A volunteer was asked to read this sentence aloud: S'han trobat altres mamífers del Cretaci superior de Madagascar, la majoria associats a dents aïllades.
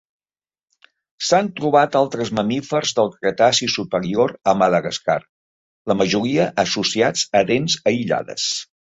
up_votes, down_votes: 1, 2